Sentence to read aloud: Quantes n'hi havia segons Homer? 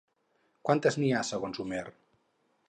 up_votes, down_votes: 2, 4